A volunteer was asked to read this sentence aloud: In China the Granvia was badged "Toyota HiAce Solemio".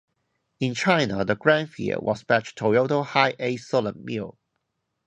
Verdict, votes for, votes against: rejected, 0, 2